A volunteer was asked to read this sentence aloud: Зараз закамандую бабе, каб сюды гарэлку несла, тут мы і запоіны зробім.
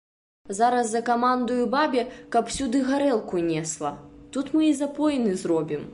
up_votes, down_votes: 2, 0